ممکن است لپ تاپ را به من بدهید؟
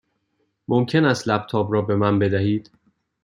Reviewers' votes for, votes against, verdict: 2, 0, accepted